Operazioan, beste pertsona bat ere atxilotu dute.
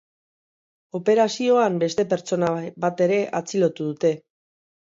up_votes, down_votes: 0, 3